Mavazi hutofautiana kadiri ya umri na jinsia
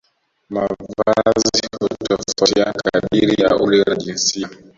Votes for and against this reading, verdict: 0, 2, rejected